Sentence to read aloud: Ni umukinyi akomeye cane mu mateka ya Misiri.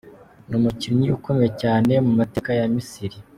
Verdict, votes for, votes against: rejected, 0, 2